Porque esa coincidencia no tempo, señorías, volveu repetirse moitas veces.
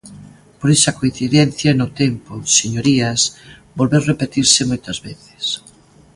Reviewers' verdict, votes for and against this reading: rejected, 0, 2